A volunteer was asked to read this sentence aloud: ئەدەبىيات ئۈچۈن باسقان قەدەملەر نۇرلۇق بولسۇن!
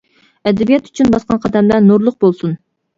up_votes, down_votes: 2, 0